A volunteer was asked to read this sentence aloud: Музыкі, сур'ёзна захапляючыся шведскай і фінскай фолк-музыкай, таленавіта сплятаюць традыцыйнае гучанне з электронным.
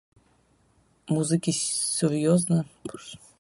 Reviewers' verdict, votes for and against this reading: rejected, 0, 2